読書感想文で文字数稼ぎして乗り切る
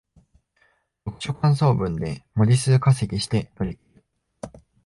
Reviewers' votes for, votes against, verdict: 1, 2, rejected